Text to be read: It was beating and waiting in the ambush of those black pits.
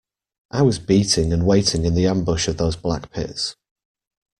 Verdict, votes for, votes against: rejected, 1, 2